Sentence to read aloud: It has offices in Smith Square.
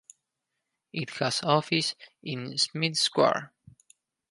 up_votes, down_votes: 0, 4